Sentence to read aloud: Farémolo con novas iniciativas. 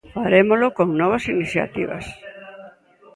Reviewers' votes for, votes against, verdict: 0, 2, rejected